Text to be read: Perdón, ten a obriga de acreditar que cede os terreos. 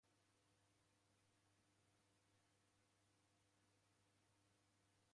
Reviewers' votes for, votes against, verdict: 0, 2, rejected